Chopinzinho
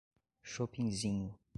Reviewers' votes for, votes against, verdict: 0, 2, rejected